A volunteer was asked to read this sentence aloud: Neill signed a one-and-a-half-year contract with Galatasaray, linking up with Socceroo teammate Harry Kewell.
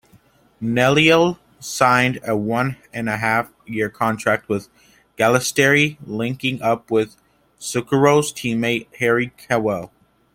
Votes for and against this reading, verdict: 1, 2, rejected